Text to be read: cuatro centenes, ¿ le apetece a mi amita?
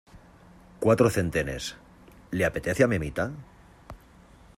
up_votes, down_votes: 2, 0